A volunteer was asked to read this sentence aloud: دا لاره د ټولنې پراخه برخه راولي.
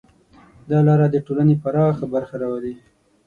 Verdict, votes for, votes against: accepted, 6, 0